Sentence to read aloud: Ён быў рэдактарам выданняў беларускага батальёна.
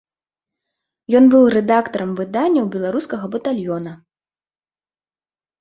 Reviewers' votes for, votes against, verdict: 2, 0, accepted